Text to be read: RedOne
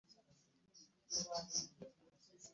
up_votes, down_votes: 0, 2